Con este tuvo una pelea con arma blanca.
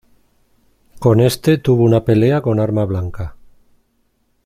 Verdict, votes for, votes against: accepted, 2, 0